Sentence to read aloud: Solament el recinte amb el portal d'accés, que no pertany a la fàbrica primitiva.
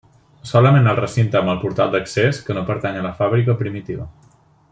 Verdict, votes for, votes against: accepted, 3, 1